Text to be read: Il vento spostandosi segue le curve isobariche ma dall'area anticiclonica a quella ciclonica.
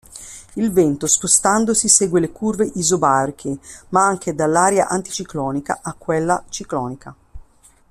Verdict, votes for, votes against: rejected, 1, 2